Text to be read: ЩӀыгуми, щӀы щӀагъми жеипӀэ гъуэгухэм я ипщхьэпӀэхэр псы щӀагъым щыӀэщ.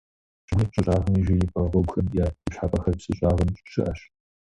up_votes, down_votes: 2, 0